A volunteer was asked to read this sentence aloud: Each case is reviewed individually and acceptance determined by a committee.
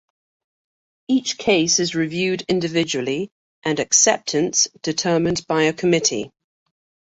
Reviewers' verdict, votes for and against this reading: accepted, 2, 0